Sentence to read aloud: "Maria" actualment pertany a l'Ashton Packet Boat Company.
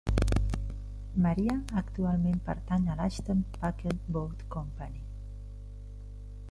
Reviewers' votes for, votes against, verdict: 2, 0, accepted